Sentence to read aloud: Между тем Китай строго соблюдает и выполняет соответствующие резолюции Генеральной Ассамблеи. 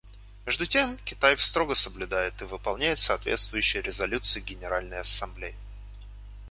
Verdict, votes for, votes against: rejected, 0, 2